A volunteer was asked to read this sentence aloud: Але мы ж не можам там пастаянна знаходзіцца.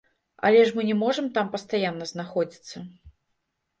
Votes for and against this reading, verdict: 1, 2, rejected